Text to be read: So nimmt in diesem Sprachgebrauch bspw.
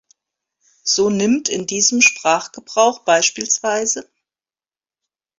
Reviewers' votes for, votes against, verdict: 0, 2, rejected